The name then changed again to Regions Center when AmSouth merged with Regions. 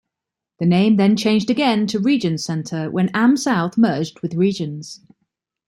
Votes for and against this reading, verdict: 2, 0, accepted